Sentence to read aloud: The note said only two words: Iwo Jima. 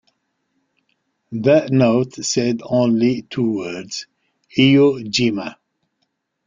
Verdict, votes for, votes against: rejected, 1, 2